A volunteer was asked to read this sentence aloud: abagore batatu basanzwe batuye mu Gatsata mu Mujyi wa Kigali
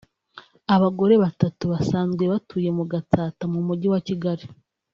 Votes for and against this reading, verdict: 2, 0, accepted